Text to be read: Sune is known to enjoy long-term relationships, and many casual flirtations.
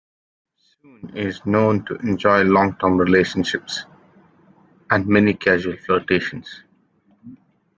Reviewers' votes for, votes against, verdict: 1, 2, rejected